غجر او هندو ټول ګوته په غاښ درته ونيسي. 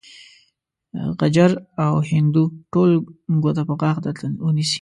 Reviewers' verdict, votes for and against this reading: accepted, 2, 0